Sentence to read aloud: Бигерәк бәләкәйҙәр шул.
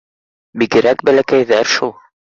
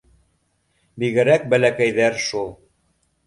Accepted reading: second